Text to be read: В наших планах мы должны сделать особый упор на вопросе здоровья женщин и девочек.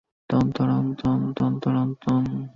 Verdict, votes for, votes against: rejected, 0, 2